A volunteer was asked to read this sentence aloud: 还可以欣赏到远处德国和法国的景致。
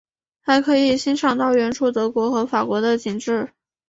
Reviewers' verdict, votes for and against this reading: accepted, 8, 1